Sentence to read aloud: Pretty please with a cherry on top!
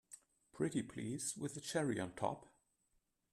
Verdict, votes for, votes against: accepted, 2, 0